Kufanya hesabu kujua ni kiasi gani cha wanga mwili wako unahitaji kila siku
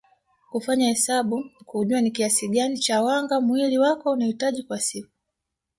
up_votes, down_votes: 0, 2